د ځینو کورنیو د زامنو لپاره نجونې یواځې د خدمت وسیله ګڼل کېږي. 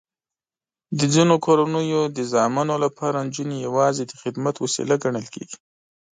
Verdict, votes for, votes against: accepted, 2, 0